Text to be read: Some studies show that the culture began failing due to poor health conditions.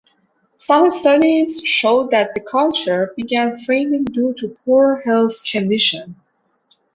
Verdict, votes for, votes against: accepted, 2, 1